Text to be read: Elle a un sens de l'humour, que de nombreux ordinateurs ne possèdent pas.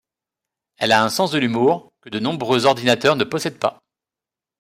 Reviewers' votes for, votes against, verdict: 2, 0, accepted